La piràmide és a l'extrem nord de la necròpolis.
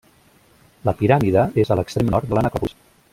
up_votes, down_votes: 0, 2